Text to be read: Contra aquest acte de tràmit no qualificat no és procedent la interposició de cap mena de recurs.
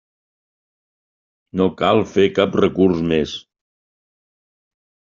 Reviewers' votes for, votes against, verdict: 0, 2, rejected